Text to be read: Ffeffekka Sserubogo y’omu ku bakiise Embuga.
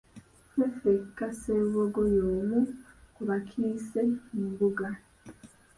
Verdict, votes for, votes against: rejected, 1, 2